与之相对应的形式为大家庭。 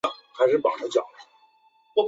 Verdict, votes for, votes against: rejected, 0, 2